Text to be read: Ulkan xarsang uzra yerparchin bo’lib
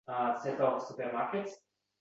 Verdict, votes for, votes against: rejected, 0, 2